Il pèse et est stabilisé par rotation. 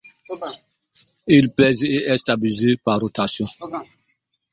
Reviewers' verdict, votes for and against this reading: rejected, 1, 2